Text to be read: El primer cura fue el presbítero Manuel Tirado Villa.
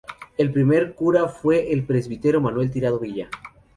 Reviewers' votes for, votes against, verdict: 2, 0, accepted